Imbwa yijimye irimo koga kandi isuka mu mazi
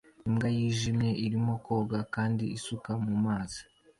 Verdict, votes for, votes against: accepted, 2, 1